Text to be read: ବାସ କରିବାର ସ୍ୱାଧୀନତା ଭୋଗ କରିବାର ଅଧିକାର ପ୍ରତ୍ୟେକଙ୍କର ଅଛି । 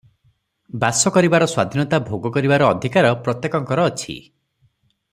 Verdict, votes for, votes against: accepted, 3, 0